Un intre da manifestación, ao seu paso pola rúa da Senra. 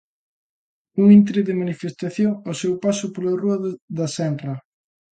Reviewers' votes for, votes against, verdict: 0, 2, rejected